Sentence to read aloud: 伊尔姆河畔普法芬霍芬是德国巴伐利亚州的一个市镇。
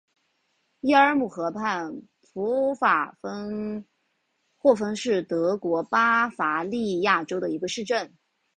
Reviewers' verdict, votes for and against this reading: accepted, 2, 0